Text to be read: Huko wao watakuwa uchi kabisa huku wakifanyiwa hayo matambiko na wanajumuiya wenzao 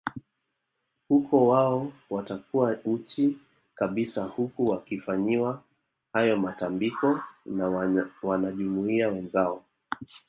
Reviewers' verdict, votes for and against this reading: rejected, 0, 2